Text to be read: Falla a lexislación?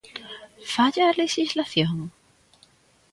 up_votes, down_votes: 3, 0